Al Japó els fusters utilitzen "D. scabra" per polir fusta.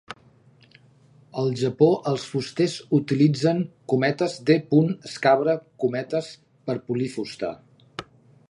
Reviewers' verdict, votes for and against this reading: rejected, 1, 2